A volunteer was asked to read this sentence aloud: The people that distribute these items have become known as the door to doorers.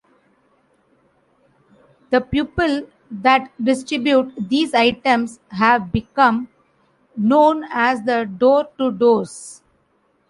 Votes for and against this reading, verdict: 0, 2, rejected